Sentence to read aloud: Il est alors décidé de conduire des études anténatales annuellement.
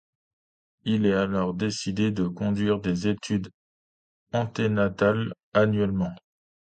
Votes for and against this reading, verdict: 2, 0, accepted